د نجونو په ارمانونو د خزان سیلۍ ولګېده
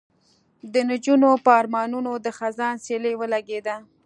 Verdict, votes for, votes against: accepted, 2, 0